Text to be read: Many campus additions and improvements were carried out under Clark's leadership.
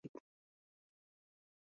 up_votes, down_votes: 0, 2